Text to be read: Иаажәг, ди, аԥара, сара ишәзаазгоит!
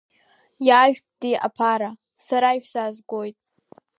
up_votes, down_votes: 2, 0